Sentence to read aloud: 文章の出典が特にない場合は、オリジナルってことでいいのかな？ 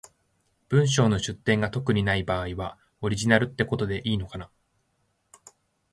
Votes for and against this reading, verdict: 2, 0, accepted